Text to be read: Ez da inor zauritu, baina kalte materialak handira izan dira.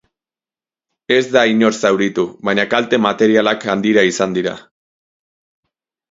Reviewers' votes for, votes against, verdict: 2, 2, rejected